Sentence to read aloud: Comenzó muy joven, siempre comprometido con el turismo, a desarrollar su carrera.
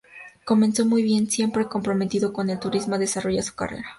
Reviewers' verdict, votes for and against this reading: rejected, 0, 4